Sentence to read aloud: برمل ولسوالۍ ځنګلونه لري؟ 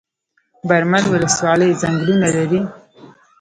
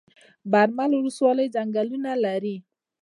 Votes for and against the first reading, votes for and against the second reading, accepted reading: 1, 2, 2, 0, second